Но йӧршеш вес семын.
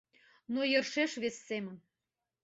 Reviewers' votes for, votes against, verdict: 3, 0, accepted